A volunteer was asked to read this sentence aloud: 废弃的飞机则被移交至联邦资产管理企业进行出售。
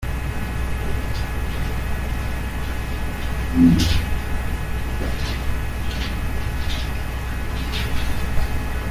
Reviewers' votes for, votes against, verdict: 0, 2, rejected